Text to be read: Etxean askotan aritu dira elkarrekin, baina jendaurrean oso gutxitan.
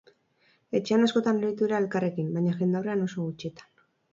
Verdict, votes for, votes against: rejected, 2, 4